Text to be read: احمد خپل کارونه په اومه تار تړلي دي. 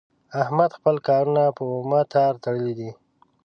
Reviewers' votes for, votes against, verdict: 1, 2, rejected